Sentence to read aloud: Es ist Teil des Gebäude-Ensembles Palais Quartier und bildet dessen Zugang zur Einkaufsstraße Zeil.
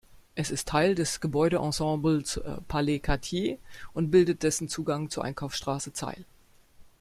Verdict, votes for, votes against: accepted, 2, 0